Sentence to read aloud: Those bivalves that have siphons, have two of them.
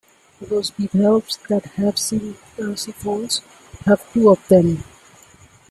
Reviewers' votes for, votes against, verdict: 0, 2, rejected